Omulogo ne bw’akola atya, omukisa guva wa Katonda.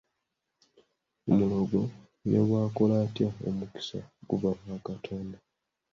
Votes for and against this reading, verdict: 0, 2, rejected